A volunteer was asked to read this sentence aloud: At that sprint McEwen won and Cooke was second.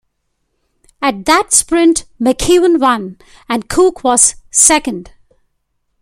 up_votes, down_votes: 2, 0